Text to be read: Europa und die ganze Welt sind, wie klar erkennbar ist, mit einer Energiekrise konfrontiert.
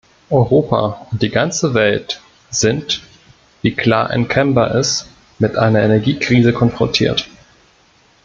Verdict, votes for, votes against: rejected, 1, 2